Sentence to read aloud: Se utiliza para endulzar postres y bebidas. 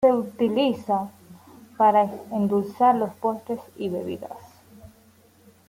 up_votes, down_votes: 2, 1